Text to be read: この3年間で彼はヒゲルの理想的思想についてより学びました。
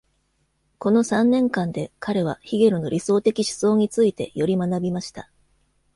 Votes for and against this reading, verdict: 0, 2, rejected